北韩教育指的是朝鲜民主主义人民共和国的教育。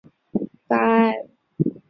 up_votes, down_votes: 0, 5